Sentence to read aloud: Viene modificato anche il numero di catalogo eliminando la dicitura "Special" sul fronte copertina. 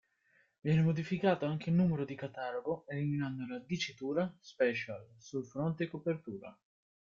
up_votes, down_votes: 0, 2